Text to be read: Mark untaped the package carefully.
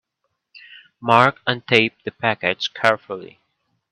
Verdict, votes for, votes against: accepted, 2, 0